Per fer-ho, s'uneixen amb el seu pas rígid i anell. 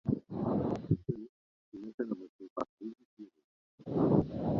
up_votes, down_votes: 0, 2